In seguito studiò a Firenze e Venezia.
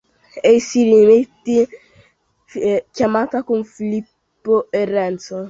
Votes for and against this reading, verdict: 0, 2, rejected